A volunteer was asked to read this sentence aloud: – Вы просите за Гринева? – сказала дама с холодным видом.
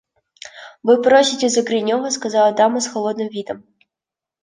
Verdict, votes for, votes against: accepted, 2, 1